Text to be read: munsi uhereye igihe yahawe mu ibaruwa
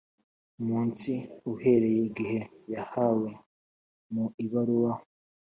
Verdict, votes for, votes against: accepted, 3, 0